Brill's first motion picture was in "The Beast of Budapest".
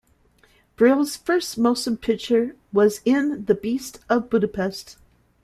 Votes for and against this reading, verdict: 2, 1, accepted